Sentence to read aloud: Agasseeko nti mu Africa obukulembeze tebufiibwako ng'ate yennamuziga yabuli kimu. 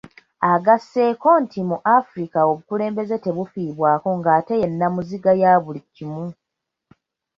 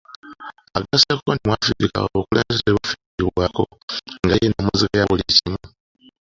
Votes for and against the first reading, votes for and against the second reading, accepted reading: 2, 0, 1, 2, first